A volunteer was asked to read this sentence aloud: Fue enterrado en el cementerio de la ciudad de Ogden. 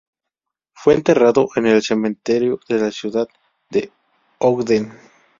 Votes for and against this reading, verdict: 0, 2, rejected